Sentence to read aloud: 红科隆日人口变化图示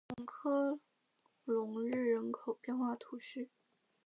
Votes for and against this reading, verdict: 0, 2, rejected